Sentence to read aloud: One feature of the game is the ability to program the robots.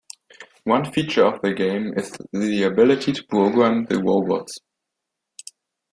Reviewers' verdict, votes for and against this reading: accepted, 2, 1